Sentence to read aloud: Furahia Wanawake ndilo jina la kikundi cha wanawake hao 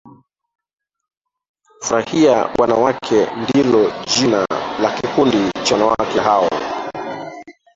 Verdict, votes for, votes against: rejected, 0, 2